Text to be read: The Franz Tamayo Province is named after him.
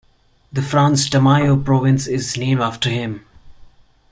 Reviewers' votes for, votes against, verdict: 0, 2, rejected